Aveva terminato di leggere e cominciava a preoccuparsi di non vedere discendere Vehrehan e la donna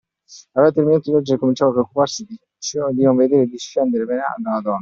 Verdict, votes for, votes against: rejected, 1, 2